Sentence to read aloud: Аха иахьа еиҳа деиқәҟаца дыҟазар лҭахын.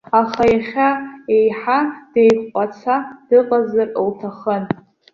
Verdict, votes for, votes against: accepted, 2, 0